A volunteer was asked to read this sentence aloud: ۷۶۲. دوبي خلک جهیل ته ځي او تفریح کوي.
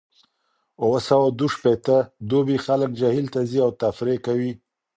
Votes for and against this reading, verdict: 0, 2, rejected